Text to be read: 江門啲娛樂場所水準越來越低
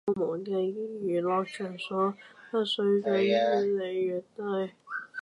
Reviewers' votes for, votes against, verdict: 0, 2, rejected